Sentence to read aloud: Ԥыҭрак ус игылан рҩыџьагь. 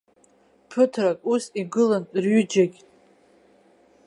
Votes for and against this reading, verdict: 2, 0, accepted